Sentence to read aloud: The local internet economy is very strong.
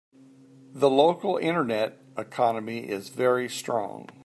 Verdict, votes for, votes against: accepted, 2, 0